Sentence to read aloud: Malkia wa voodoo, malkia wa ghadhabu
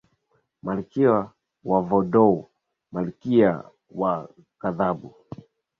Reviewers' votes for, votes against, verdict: 0, 2, rejected